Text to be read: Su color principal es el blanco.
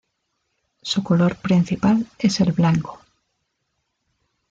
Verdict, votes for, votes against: accepted, 2, 0